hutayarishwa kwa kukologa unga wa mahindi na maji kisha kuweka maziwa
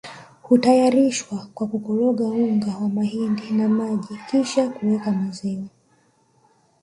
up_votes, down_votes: 1, 2